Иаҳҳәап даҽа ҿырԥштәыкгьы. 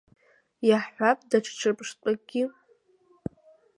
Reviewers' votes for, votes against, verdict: 1, 2, rejected